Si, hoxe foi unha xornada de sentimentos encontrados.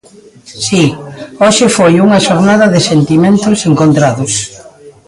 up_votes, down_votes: 2, 0